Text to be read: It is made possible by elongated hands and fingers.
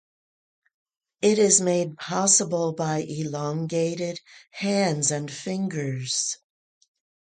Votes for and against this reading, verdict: 0, 2, rejected